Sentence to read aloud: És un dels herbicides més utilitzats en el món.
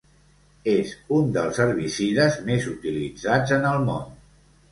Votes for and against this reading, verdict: 2, 0, accepted